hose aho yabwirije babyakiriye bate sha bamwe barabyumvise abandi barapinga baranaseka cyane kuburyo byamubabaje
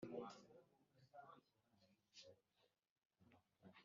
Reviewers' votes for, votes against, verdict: 1, 2, rejected